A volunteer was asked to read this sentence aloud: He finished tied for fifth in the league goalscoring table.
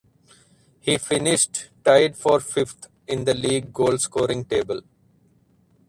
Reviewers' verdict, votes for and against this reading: accepted, 4, 0